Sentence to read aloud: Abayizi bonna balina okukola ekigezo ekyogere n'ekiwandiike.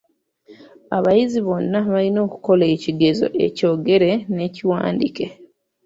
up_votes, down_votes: 2, 1